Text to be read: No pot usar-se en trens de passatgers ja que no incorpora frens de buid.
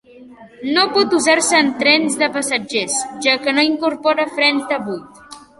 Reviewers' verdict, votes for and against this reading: accepted, 3, 0